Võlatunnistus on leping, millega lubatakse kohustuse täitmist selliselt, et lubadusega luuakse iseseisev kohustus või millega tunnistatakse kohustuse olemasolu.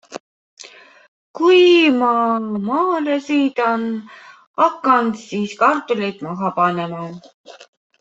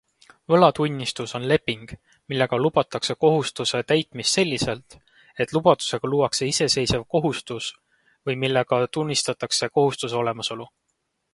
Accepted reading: second